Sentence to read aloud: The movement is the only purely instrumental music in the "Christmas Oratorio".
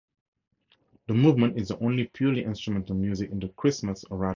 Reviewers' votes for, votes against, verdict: 0, 4, rejected